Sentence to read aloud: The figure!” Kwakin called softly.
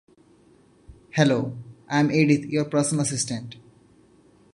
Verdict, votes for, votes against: rejected, 0, 2